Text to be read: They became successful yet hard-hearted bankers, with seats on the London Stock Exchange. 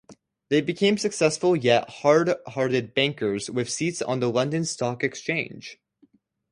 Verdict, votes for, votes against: accepted, 2, 0